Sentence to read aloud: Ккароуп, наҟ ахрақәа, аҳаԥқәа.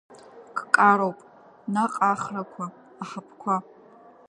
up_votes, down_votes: 2, 1